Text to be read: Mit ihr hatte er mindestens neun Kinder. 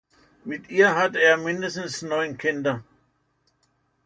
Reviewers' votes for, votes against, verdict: 2, 1, accepted